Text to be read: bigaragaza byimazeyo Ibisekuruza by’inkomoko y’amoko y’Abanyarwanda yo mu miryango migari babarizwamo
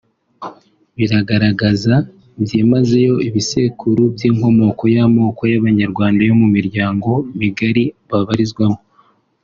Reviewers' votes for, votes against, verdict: 1, 2, rejected